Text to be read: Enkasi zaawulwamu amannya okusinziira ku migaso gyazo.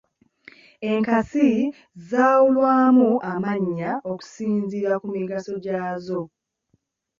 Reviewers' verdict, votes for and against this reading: accepted, 2, 0